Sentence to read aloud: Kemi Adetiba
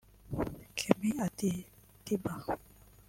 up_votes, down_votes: 1, 2